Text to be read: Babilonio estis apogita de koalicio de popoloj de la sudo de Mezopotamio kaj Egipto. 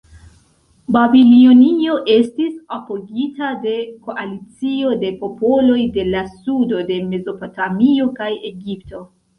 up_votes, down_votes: 2, 0